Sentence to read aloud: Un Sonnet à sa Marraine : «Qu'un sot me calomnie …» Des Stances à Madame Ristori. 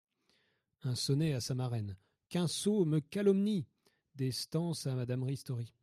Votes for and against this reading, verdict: 2, 0, accepted